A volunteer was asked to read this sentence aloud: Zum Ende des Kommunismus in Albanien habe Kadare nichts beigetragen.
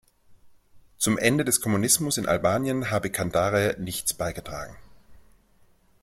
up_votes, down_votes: 1, 2